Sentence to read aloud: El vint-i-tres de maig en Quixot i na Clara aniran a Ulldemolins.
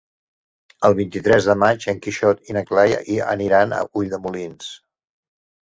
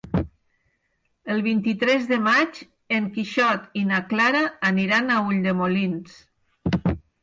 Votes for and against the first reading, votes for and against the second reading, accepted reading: 0, 2, 6, 0, second